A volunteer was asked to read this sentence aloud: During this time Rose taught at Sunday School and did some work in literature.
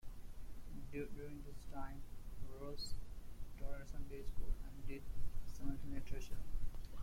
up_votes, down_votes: 0, 2